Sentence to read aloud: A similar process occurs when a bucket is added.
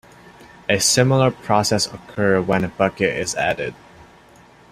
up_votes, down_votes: 0, 2